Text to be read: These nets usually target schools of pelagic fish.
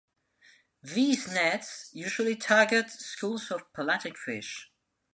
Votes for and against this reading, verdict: 2, 0, accepted